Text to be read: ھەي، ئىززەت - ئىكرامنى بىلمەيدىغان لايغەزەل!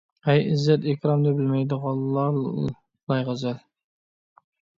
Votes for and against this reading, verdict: 0, 2, rejected